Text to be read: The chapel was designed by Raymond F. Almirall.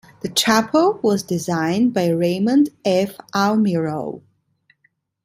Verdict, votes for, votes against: accepted, 2, 0